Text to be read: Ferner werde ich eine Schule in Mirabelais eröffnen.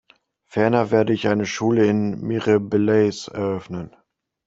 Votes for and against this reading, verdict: 0, 2, rejected